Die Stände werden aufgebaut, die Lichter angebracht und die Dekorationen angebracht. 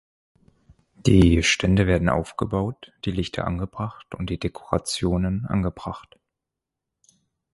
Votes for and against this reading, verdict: 4, 0, accepted